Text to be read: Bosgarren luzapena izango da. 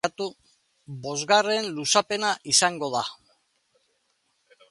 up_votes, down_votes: 0, 2